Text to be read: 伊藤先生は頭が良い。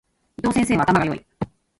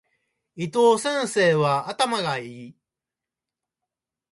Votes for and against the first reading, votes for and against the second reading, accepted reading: 1, 2, 2, 1, second